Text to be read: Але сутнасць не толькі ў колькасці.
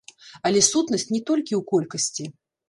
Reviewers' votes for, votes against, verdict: 0, 2, rejected